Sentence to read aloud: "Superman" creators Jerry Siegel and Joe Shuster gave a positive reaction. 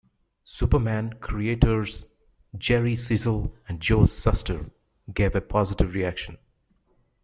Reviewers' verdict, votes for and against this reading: rejected, 0, 2